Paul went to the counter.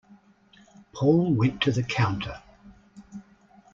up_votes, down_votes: 2, 0